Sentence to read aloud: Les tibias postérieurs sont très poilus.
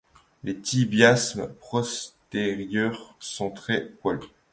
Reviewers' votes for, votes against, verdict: 0, 3, rejected